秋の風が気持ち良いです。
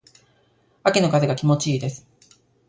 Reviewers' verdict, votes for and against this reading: accepted, 2, 1